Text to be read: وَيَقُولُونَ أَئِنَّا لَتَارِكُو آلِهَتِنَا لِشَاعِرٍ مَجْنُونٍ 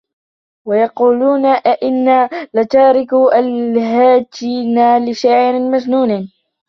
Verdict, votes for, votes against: rejected, 0, 2